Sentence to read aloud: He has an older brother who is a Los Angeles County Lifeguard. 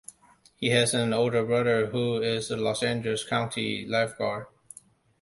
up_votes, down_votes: 2, 0